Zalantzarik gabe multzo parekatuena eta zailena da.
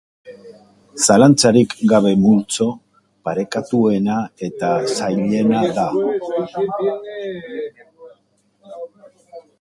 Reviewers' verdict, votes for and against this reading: rejected, 0, 2